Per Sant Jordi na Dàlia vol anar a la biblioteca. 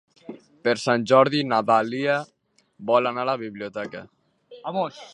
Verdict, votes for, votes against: rejected, 1, 2